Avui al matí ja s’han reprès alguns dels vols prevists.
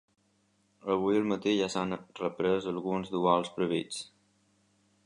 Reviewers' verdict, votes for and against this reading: rejected, 1, 2